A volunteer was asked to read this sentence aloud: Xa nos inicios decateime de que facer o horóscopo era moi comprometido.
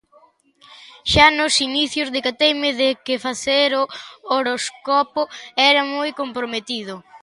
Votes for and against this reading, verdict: 0, 2, rejected